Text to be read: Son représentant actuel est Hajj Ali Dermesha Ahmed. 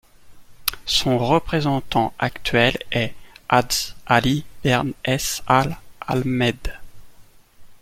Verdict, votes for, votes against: rejected, 1, 2